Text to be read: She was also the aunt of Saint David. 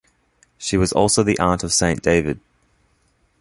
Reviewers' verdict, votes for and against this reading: accepted, 2, 0